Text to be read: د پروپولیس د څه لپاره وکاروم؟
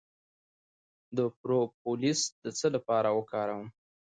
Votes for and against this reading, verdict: 1, 2, rejected